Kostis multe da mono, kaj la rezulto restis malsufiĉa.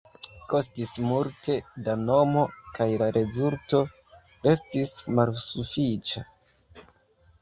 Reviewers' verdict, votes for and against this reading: rejected, 0, 2